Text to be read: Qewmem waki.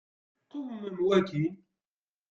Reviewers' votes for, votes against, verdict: 0, 2, rejected